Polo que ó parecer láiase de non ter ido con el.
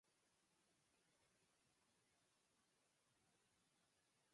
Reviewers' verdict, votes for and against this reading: rejected, 0, 4